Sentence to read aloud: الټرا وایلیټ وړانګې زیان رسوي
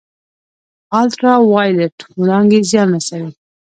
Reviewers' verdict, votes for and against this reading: accepted, 2, 0